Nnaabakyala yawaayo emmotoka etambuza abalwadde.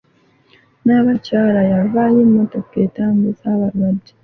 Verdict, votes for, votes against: accepted, 2, 0